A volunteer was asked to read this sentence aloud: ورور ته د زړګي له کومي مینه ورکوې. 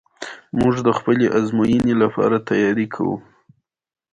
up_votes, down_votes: 2, 1